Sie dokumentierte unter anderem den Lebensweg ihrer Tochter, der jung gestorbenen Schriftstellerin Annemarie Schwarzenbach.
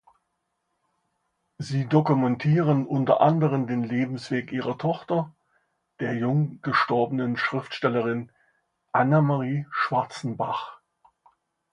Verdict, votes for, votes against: rejected, 0, 2